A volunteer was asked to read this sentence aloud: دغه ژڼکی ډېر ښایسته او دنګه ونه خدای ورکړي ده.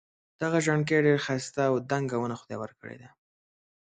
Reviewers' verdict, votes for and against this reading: accepted, 2, 0